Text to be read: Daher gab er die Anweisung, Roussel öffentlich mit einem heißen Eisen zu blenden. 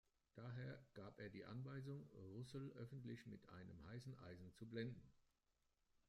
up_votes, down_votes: 0, 2